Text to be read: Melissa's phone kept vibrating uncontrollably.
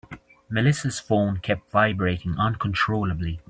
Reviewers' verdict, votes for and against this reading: accepted, 2, 0